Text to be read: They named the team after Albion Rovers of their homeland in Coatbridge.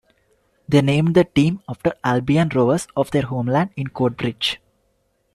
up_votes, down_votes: 2, 0